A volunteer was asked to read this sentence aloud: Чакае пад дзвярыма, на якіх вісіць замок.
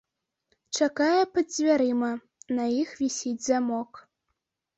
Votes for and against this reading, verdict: 1, 2, rejected